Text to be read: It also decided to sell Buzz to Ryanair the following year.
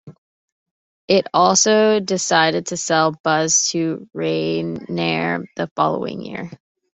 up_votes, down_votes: 1, 2